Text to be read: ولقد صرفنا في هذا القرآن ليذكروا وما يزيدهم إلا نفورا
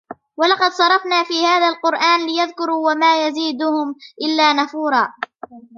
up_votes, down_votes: 0, 2